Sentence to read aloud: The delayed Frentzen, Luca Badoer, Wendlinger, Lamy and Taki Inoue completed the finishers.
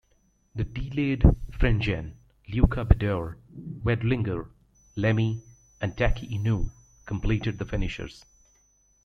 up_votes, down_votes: 0, 2